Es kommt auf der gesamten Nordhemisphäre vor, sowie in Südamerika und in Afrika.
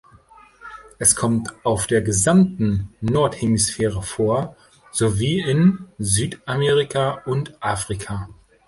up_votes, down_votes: 2, 0